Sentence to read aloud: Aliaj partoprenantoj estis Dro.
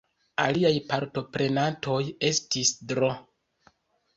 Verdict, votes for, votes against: accepted, 2, 1